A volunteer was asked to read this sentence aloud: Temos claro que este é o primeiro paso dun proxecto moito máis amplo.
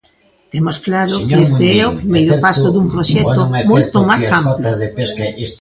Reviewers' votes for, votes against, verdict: 1, 2, rejected